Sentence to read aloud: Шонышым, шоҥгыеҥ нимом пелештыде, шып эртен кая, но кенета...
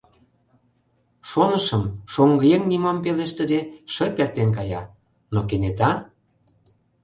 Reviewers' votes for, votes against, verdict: 2, 0, accepted